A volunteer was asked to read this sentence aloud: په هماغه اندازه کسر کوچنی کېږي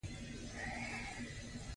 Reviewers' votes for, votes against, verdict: 2, 0, accepted